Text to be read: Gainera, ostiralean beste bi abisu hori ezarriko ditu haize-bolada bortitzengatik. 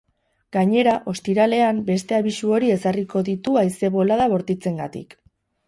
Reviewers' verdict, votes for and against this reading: rejected, 2, 4